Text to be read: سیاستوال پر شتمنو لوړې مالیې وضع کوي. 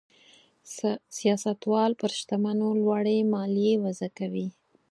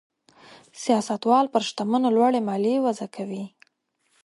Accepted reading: second